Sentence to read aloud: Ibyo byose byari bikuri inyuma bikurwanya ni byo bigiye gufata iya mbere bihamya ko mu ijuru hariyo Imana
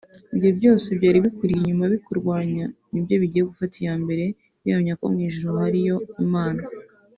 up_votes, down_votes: 3, 0